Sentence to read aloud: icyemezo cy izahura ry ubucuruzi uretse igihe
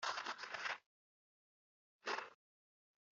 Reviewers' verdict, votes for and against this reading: rejected, 0, 2